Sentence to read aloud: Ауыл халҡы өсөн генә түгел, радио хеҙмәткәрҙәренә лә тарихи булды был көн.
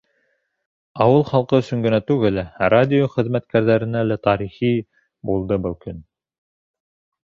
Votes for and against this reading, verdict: 3, 0, accepted